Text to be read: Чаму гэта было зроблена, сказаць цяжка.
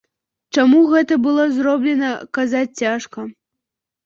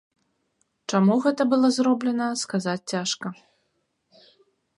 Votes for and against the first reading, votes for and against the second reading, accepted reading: 0, 2, 4, 0, second